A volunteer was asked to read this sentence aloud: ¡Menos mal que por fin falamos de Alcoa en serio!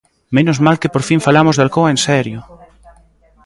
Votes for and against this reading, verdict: 2, 0, accepted